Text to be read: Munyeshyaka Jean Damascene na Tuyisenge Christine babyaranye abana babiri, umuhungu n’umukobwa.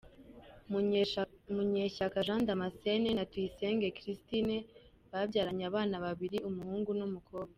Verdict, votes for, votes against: rejected, 0, 2